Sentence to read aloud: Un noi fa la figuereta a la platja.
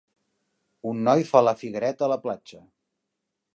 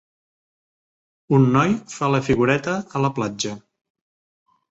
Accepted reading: first